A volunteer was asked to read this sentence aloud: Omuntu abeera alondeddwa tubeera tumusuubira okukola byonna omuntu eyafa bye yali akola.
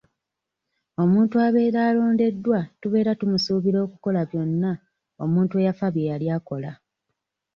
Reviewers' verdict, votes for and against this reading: rejected, 0, 2